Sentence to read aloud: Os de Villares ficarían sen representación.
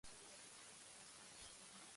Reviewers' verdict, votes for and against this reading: rejected, 0, 2